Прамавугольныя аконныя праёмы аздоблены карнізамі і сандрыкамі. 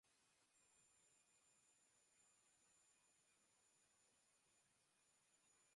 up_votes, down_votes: 0, 2